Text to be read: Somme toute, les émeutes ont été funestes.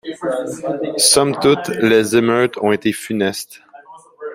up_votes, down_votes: 1, 2